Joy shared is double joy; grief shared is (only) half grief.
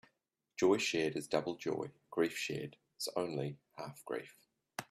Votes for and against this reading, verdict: 2, 1, accepted